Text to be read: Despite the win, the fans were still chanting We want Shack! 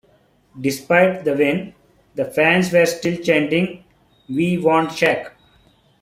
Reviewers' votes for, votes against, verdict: 2, 0, accepted